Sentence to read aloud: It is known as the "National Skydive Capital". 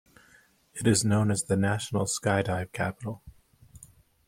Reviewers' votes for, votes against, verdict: 2, 0, accepted